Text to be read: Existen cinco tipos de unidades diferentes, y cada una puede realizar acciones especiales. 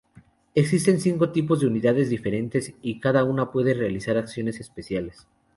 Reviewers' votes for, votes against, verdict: 2, 0, accepted